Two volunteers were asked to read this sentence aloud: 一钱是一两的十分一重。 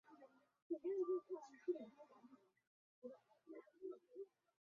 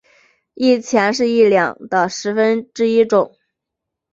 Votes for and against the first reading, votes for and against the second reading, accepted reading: 0, 2, 3, 0, second